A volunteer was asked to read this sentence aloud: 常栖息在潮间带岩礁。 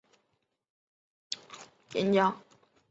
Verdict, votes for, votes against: rejected, 0, 2